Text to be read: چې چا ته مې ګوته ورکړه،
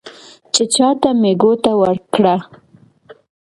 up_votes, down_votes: 2, 0